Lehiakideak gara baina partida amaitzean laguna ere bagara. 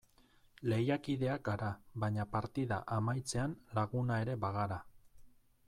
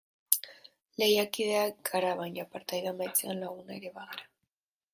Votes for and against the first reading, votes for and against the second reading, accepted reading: 2, 1, 0, 2, first